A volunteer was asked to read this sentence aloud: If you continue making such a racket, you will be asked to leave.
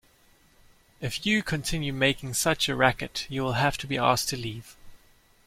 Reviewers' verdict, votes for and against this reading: rejected, 1, 2